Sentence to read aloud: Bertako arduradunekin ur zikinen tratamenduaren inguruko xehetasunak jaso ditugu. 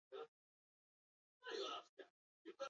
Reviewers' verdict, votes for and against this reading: rejected, 0, 4